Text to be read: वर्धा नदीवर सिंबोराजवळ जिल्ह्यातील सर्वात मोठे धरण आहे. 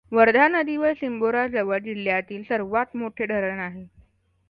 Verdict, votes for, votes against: accepted, 2, 0